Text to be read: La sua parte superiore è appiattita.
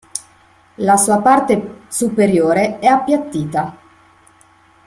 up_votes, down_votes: 0, 2